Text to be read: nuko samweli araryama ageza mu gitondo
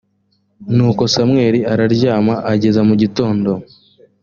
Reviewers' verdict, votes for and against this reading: accepted, 2, 0